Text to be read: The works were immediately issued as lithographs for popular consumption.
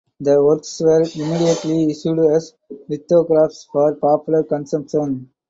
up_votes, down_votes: 4, 0